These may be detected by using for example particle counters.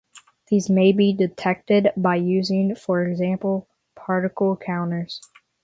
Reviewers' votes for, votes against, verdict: 6, 0, accepted